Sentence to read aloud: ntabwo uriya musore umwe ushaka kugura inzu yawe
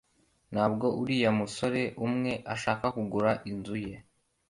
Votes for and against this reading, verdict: 2, 1, accepted